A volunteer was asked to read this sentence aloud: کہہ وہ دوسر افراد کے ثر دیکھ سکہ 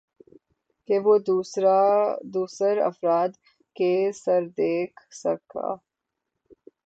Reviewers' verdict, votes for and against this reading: rejected, 0, 6